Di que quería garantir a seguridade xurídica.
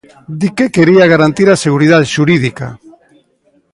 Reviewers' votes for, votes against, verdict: 2, 0, accepted